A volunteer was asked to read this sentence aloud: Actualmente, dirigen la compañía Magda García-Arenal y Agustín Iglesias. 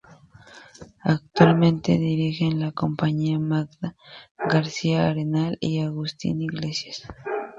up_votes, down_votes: 0, 2